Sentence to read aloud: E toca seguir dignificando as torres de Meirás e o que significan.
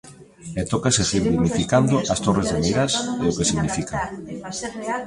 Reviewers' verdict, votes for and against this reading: rejected, 0, 2